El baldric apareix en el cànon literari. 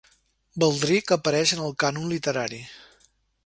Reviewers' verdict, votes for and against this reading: rejected, 1, 2